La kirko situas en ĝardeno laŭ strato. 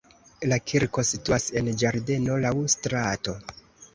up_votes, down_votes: 2, 0